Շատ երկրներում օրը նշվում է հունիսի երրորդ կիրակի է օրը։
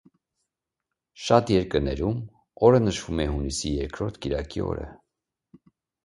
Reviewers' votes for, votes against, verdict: 1, 2, rejected